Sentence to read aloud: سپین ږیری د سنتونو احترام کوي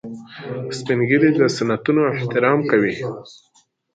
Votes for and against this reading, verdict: 2, 0, accepted